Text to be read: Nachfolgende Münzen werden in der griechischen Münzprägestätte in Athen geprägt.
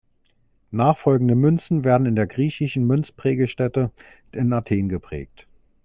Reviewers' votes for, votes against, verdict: 2, 1, accepted